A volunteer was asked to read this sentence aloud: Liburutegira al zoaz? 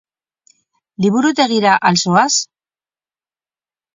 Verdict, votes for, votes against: accepted, 4, 0